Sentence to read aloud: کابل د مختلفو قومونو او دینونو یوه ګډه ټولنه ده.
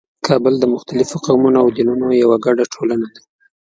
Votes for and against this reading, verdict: 3, 0, accepted